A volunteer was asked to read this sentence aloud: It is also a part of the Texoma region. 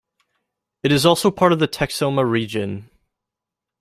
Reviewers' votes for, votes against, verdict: 0, 2, rejected